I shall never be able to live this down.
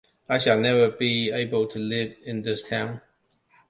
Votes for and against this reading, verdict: 0, 2, rejected